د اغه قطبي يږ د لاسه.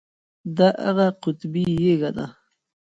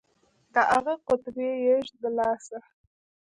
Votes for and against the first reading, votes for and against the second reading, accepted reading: 1, 2, 2, 1, second